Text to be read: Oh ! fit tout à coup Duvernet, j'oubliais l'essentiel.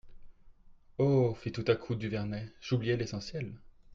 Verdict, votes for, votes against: accepted, 2, 0